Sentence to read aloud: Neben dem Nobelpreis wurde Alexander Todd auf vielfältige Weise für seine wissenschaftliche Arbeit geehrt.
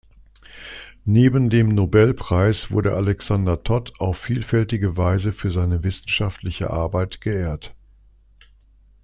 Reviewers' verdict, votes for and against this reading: accepted, 2, 0